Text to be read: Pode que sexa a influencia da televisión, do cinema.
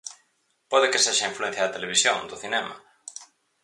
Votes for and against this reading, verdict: 6, 0, accepted